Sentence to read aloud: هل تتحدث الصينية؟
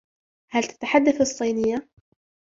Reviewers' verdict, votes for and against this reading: accepted, 2, 1